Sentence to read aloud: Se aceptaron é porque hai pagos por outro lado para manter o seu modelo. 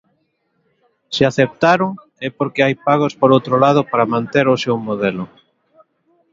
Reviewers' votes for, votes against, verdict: 2, 0, accepted